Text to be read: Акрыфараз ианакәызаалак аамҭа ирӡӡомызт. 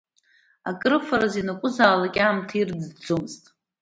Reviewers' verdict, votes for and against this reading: accepted, 2, 0